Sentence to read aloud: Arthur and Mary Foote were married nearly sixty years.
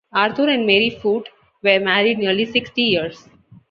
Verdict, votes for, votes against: accepted, 2, 0